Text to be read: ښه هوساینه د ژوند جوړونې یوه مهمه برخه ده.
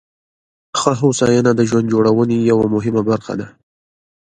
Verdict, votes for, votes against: rejected, 1, 2